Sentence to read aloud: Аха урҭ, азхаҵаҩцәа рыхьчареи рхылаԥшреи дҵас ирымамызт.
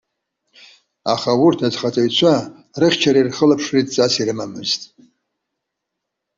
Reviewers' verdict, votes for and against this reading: accepted, 2, 0